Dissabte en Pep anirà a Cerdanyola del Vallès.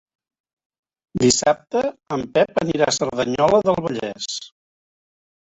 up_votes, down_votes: 2, 0